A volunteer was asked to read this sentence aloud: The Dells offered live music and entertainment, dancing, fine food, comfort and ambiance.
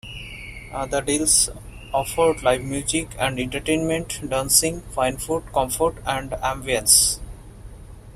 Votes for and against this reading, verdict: 0, 2, rejected